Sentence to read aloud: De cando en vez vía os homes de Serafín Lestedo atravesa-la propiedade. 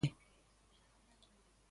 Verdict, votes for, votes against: rejected, 0, 2